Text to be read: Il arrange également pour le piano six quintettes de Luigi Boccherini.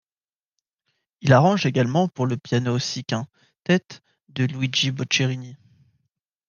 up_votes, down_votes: 1, 2